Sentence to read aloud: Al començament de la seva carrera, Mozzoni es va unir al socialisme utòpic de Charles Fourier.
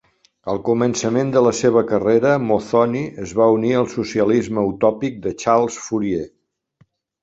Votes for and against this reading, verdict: 4, 0, accepted